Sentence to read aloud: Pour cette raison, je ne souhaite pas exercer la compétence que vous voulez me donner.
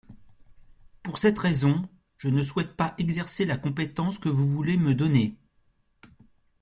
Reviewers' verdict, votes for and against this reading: accepted, 2, 0